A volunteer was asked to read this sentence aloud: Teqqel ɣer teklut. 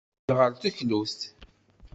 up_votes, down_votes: 0, 2